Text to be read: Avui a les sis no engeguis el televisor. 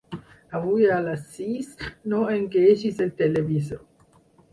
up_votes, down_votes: 0, 4